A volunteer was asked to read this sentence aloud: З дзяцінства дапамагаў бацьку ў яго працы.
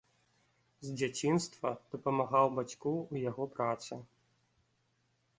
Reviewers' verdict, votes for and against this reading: rejected, 0, 2